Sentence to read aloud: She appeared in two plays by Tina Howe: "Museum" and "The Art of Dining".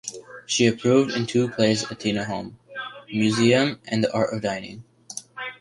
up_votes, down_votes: 3, 1